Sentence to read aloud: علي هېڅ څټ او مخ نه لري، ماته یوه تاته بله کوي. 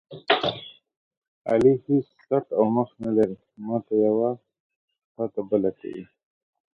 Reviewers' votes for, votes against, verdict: 2, 1, accepted